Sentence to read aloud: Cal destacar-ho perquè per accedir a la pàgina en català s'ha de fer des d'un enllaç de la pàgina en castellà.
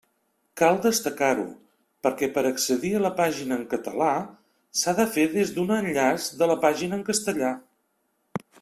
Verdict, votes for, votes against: accepted, 3, 0